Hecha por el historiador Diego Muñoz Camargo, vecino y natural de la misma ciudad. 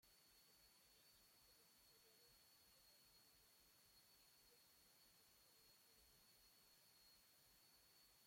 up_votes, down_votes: 0, 2